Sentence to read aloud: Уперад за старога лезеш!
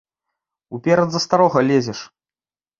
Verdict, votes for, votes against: accepted, 2, 0